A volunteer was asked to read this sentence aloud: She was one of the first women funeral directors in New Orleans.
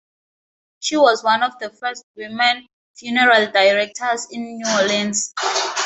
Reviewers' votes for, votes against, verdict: 2, 0, accepted